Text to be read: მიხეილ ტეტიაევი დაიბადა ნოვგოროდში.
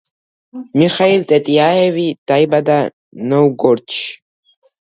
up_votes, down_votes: 0, 2